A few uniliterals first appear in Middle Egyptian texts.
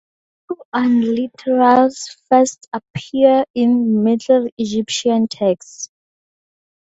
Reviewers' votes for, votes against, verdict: 0, 2, rejected